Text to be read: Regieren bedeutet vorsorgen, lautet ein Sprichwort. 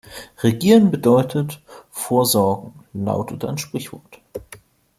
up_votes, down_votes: 2, 0